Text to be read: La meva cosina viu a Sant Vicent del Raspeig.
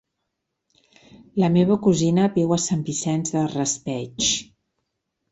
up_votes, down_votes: 0, 2